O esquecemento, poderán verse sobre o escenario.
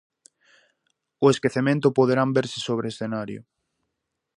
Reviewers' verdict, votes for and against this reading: accepted, 4, 0